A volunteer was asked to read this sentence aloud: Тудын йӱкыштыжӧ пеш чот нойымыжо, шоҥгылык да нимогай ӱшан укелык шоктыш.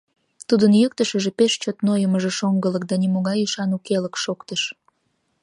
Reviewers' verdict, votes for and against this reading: rejected, 1, 2